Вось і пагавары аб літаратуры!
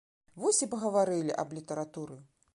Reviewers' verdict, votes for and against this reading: rejected, 0, 2